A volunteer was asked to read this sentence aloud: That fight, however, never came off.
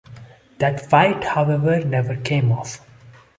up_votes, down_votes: 2, 0